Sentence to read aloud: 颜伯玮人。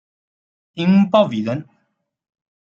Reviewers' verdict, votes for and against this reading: rejected, 1, 3